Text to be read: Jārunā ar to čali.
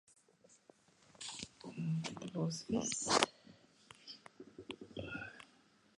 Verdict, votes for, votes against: rejected, 0, 2